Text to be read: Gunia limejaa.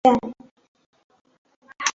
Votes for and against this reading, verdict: 0, 2, rejected